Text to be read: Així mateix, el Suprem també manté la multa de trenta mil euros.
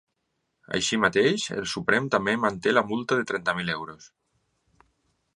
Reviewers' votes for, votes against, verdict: 4, 0, accepted